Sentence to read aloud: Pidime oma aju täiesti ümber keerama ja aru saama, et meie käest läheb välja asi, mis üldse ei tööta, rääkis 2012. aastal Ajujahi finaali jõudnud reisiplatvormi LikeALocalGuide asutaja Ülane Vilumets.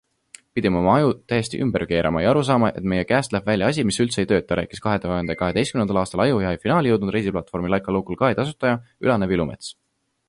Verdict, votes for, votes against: rejected, 0, 2